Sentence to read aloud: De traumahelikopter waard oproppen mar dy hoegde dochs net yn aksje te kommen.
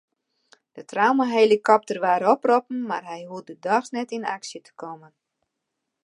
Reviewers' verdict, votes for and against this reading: rejected, 1, 2